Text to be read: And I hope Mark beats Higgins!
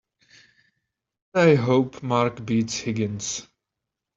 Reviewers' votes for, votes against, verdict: 0, 2, rejected